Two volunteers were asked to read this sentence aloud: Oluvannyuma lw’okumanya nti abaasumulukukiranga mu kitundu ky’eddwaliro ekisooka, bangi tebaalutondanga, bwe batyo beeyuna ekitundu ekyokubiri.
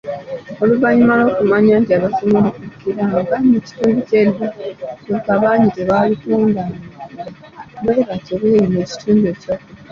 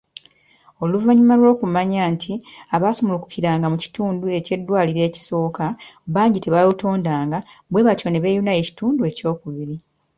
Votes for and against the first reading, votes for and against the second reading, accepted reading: 2, 1, 1, 2, first